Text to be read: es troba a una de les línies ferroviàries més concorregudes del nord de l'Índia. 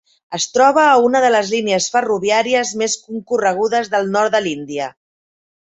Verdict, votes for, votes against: accepted, 3, 0